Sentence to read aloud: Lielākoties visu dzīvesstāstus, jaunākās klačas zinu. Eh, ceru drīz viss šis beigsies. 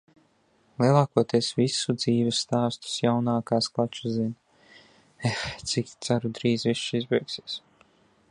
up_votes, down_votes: 0, 2